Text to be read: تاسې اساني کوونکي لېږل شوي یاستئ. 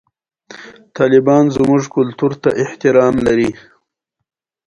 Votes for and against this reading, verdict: 1, 2, rejected